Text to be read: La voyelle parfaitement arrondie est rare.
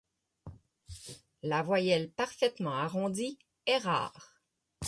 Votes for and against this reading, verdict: 6, 0, accepted